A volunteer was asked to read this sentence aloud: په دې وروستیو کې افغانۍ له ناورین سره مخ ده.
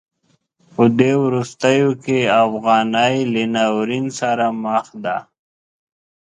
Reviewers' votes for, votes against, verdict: 2, 0, accepted